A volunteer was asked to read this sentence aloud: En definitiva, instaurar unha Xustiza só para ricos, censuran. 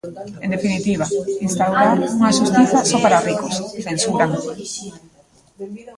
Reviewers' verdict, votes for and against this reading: rejected, 1, 2